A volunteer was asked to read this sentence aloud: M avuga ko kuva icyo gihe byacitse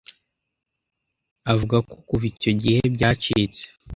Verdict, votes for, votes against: rejected, 0, 2